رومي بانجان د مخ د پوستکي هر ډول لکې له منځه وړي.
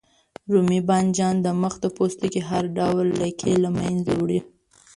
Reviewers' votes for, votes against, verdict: 1, 2, rejected